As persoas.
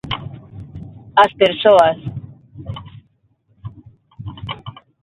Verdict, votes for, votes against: accepted, 6, 0